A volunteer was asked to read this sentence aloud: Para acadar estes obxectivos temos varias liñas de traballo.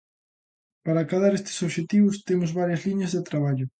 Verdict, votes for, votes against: accepted, 2, 0